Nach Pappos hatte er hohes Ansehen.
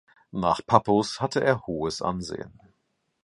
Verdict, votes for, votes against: accepted, 2, 0